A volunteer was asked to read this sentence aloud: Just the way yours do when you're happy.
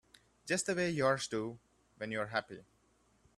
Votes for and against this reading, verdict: 2, 1, accepted